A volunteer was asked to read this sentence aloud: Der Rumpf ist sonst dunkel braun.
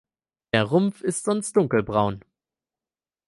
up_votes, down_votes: 4, 0